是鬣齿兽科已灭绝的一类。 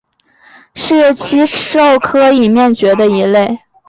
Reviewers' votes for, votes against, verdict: 2, 0, accepted